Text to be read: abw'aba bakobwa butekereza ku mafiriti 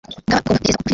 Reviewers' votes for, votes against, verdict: 1, 2, rejected